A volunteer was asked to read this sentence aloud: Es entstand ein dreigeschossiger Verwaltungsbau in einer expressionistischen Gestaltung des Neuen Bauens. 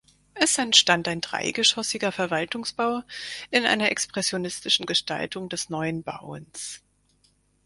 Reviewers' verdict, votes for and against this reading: accepted, 4, 0